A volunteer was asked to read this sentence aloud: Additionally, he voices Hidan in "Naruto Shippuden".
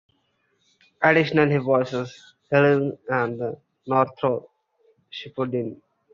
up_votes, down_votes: 0, 2